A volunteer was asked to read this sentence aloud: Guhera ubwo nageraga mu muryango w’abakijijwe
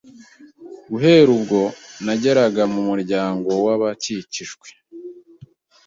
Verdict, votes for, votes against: rejected, 1, 2